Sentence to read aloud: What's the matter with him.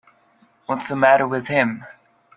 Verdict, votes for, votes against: accepted, 4, 0